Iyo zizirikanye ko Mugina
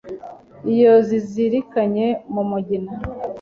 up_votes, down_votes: 1, 2